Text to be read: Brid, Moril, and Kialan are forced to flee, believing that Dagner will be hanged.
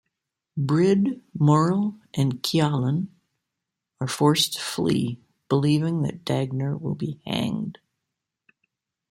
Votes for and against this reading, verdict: 2, 0, accepted